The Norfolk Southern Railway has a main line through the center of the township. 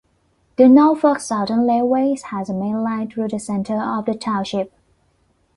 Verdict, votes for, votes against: accepted, 2, 0